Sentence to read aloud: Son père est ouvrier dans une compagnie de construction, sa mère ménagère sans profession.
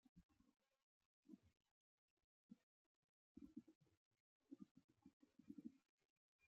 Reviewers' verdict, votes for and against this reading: rejected, 0, 2